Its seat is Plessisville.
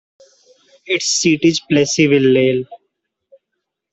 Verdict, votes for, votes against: rejected, 0, 2